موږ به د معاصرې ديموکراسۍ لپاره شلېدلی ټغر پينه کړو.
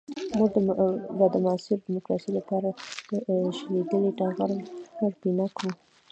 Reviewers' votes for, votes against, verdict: 1, 2, rejected